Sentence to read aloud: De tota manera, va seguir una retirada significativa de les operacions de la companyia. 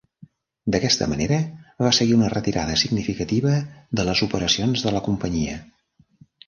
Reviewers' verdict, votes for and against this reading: rejected, 0, 2